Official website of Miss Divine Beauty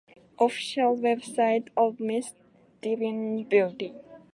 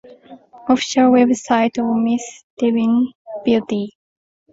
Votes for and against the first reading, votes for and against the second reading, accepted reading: 2, 0, 0, 2, first